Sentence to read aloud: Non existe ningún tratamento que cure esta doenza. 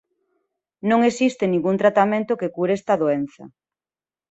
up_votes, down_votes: 2, 0